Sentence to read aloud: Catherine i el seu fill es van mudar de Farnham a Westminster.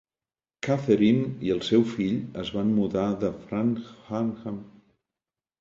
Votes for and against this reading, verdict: 1, 2, rejected